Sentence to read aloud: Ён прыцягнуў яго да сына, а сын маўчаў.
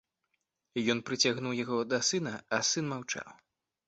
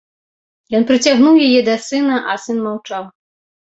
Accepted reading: first